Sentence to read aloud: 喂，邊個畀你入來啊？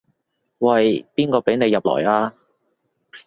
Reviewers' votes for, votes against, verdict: 2, 0, accepted